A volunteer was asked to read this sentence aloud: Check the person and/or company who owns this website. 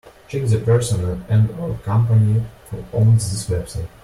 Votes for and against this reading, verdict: 1, 2, rejected